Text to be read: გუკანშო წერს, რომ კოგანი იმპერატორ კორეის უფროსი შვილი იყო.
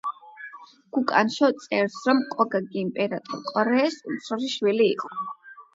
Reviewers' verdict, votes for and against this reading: rejected, 0, 8